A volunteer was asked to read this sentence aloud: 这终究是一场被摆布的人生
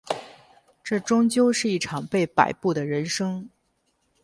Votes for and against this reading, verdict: 4, 2, accepted